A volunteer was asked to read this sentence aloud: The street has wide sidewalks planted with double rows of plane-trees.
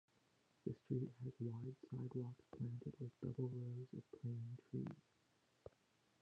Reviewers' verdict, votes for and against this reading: rejected, 0, 2